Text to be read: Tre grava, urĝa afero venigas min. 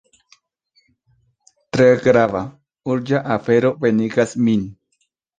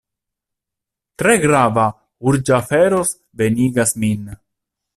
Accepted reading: first